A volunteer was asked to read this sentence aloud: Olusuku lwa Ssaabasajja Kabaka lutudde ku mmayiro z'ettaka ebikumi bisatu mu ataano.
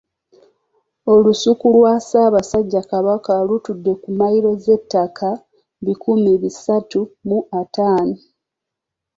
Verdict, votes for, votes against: accepted, 2, 0